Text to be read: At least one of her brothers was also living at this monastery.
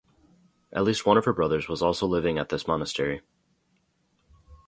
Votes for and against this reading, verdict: 2, 0, accepted